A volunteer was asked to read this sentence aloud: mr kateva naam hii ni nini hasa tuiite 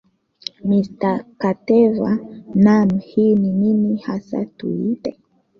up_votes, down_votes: 2, 1